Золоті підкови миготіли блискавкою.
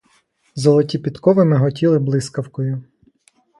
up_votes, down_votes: 1, 2